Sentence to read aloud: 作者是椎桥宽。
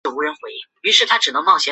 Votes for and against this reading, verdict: 1, 3, rejected